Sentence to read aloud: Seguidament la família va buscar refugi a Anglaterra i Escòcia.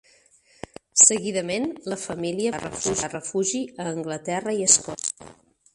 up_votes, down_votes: 2, 4